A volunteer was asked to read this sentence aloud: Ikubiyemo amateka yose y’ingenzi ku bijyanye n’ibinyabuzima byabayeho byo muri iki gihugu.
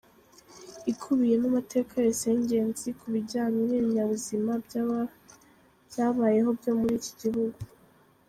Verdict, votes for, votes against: rejected, 0, 2